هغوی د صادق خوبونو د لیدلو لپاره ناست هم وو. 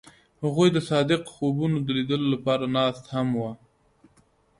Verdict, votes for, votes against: accepted, 2, 0